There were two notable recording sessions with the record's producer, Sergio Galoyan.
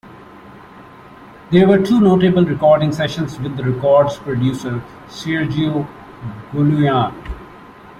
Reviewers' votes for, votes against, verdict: 2, 0, accepted